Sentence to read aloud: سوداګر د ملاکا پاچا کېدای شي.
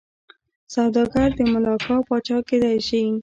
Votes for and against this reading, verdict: 2, 0, accepted